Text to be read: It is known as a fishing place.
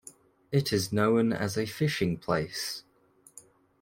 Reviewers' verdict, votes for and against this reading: rejected, 1, 2